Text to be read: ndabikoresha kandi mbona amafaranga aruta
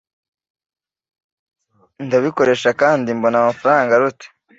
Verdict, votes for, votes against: accepted, 2, 0